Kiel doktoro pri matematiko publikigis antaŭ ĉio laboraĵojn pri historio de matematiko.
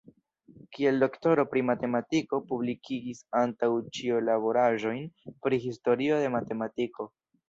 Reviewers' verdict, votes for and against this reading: accepted, 2, 1